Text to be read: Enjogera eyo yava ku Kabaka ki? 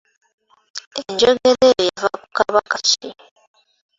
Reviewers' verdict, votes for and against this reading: accepted, 2, 1